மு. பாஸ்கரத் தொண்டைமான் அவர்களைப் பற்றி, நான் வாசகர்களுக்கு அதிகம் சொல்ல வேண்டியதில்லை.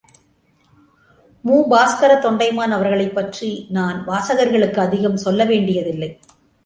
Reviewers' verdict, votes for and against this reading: accepted, 2, 0